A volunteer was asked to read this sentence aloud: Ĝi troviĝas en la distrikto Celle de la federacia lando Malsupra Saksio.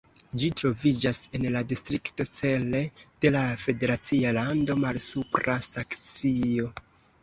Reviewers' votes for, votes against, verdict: 2, 0, accepted